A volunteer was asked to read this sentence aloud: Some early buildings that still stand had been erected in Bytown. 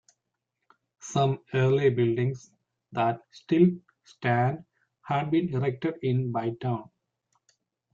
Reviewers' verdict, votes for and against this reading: accepted, 2, 0